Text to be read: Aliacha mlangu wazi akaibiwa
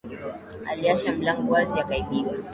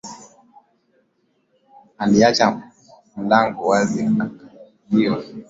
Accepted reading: first